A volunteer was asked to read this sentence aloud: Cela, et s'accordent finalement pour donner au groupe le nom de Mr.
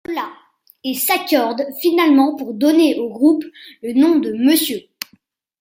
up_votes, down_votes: 1, 2